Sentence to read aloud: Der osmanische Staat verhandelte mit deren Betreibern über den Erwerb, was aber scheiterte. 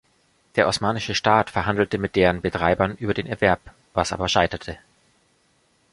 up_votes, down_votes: 2, 0